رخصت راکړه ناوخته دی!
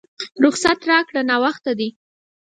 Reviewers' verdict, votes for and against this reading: accepted, 4, 0